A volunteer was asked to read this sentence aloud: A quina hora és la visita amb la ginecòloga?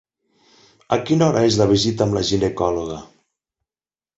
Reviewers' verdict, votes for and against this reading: accepted, 8, 0